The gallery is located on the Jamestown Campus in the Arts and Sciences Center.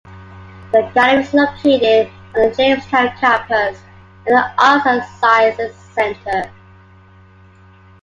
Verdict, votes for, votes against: accepted, 2, 1